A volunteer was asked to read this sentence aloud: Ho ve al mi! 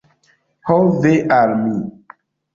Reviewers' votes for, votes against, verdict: 2, 0, accepted